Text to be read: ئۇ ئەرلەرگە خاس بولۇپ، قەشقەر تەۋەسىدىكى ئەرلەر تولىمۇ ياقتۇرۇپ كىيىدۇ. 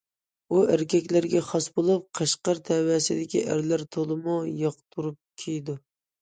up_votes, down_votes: 1, 2